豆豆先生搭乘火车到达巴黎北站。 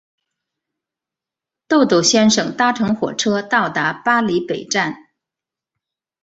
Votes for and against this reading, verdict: 2, 1, accepted